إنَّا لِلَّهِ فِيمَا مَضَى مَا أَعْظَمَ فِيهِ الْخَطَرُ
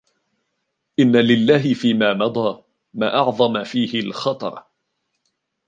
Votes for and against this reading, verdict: 2, 0, accepted